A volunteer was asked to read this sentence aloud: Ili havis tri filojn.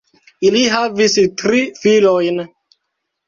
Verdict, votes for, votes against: accepted, 2, 1